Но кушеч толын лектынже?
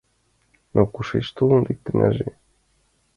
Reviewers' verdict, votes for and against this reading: accepted, 2, 0